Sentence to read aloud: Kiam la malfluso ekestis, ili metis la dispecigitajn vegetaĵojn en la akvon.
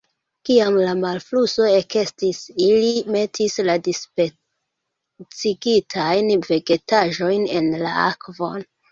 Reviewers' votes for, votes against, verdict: 2, 1, accepted